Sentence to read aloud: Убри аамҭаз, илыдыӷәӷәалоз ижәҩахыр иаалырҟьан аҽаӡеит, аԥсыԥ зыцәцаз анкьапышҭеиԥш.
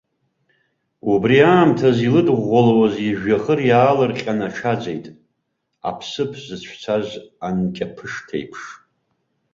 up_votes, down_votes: 1, 2